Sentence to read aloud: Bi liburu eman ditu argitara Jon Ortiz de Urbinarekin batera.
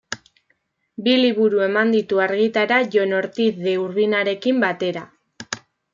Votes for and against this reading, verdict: 2, 0, accepted